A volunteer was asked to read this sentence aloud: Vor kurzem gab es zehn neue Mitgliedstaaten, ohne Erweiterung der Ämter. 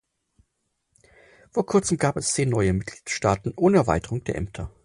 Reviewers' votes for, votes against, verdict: 4, 0, accepted